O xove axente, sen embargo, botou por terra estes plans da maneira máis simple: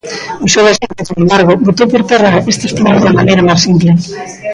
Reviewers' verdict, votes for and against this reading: rejected, 0, 2